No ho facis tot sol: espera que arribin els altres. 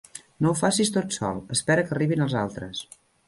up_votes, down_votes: 3, 0